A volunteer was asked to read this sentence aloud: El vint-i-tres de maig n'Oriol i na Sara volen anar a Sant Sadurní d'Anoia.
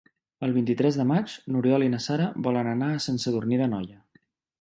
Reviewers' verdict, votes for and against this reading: accepted, 4, 0